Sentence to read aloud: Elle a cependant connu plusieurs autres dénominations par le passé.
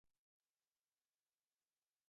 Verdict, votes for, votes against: rejected, 1, 2